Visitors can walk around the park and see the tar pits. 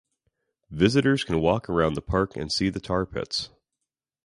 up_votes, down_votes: 2, 0